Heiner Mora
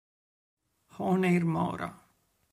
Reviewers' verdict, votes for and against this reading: rejected, 3, 4